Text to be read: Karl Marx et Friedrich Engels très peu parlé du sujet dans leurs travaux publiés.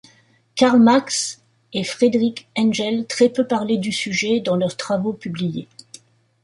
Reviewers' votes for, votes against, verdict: 0, 2, rejected